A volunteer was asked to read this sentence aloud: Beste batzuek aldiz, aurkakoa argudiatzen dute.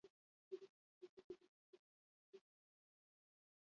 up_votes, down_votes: 2, 0